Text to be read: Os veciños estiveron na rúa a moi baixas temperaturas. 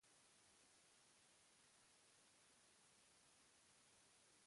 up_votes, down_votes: 0, 2